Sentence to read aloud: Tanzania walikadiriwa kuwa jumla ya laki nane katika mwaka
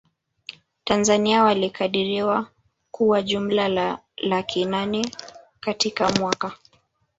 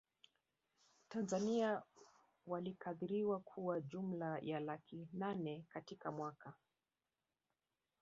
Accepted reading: second